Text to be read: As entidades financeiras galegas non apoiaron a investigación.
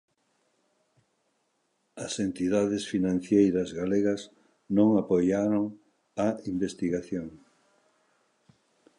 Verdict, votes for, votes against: rejected, 0, 2